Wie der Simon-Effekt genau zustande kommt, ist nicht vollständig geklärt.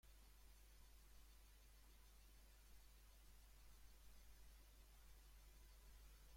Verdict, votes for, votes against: rejected, 0, 2